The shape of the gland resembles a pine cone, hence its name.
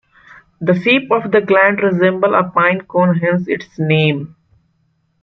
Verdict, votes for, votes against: rejected, 1, 2